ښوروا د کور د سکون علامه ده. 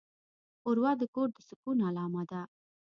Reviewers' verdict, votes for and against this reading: accepted, 2, 0